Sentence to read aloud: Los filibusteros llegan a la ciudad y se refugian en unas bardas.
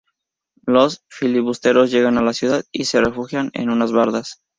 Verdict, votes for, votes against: rejected, 0, 2